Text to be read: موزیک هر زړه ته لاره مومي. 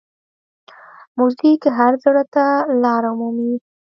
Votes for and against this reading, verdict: 1, 2, rejected